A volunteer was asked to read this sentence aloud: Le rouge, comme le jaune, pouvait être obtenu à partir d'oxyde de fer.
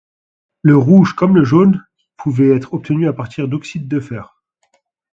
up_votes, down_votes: 2, 0